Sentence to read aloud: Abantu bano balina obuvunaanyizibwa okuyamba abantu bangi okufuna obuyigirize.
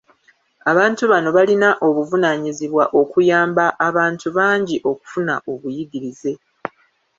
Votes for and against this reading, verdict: 1, 2, rejected